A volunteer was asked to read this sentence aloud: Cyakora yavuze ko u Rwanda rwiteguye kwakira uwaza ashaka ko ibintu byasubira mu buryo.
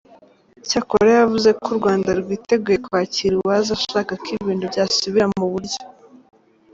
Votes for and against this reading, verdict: 2, 0, accepted